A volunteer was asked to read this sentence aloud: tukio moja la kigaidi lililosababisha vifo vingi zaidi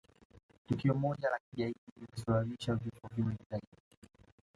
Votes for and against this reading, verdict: 2, 0, accepted